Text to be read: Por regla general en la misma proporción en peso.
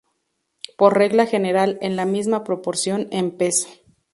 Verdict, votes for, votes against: accepted, 6, 0